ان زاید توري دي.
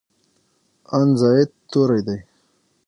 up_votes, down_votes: 3, 6